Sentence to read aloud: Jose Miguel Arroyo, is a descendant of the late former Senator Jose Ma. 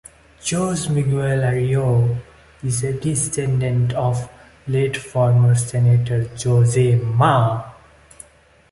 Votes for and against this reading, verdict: 0, 2, rejected